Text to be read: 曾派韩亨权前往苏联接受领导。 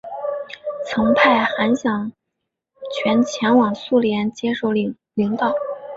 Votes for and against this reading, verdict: 0, 2, rejected